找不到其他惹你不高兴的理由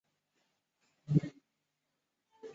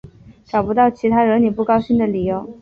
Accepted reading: second